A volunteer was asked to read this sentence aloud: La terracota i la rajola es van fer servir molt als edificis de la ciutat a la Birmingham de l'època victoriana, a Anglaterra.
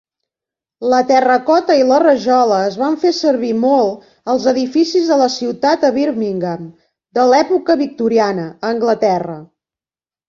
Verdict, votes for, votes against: accepted, 2, 1